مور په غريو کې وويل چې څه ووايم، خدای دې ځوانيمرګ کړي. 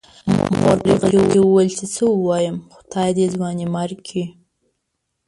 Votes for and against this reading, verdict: 1, 2, rejected